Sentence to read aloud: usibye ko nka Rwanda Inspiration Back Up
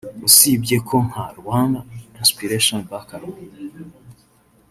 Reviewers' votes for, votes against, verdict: 1, 2, rejected